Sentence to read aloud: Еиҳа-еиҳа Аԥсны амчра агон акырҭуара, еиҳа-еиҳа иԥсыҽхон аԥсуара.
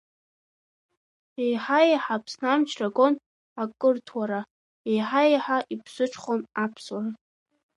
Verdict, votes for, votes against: rejected, 0, 2